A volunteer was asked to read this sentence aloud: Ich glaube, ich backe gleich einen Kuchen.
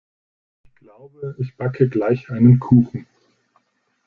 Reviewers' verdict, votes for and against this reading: rejected, 1, 2